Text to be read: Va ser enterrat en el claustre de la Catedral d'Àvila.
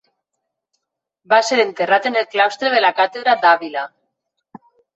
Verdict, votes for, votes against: rejected, 1, 2